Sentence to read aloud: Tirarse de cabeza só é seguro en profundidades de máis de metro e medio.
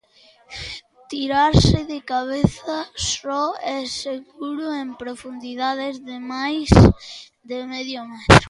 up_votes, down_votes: 0, 2